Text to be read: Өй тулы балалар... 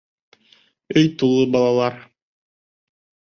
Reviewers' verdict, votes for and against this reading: accepted, 2, 0